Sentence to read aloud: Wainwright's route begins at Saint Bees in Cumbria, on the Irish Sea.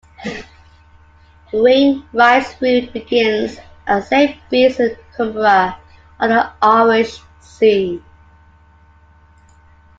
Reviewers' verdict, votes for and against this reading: rejected, 0, 3